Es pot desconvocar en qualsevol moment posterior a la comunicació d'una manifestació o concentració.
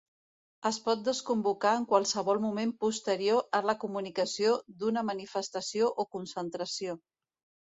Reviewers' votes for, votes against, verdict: 4, 0, accepted